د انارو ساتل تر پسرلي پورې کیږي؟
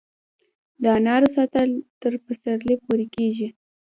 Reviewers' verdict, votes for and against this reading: rejected, 1, 2